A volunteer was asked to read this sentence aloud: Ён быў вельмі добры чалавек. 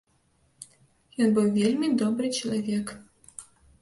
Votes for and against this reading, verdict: 0, 2, rejected